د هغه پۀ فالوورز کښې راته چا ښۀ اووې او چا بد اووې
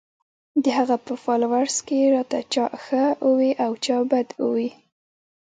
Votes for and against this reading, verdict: 1, 2, rejected